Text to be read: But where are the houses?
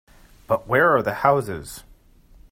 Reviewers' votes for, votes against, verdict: 2, 0, accepted